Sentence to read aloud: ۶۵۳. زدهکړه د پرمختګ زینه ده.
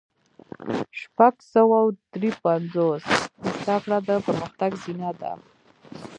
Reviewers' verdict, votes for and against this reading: rejected, 0, 2